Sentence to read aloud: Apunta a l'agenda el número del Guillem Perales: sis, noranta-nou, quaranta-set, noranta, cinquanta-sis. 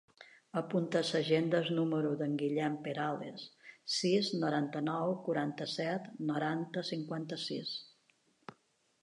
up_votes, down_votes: 0, 2